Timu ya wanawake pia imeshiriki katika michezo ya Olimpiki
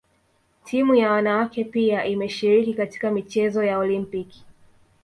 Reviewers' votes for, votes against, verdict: 2, 0, accepted